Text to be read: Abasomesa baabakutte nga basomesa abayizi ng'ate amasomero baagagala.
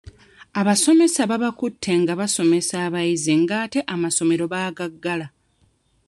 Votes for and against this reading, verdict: 1, 2, rejected